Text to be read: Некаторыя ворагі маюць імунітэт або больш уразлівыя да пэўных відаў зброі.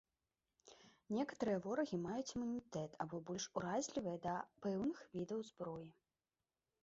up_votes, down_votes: 0, 2